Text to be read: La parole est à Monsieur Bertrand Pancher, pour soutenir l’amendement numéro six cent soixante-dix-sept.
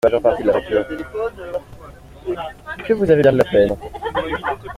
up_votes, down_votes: 0, 2